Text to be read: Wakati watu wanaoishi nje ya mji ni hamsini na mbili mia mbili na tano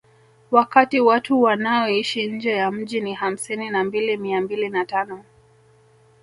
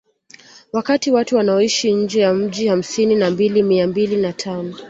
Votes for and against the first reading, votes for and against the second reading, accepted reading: 1, 2, 2, 1, second